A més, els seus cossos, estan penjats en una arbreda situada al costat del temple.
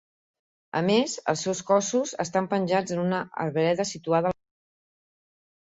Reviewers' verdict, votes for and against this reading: rejected, 0, 4